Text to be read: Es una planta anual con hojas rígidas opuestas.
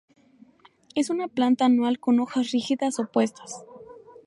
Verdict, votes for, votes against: accepted, 2, 0